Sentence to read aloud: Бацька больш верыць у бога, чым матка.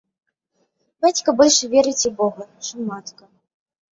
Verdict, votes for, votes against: accepted, 2, 0